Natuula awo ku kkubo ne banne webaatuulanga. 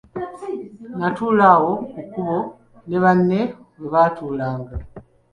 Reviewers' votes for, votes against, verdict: 2, 1, accepted